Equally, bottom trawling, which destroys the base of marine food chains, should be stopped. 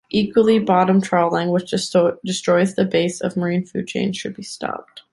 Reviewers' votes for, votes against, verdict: 2, 0, accepted